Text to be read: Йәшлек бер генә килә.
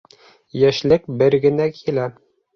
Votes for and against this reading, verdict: 3, 0, accepted